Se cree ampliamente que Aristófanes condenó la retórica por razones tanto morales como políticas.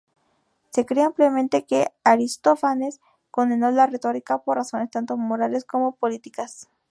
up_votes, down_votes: 2, 0